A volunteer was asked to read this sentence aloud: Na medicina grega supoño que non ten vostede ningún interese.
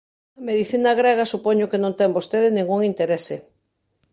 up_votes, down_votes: 0, 2